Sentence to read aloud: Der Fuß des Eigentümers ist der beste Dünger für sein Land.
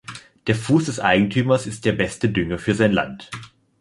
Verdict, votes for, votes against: accepted, 2, 0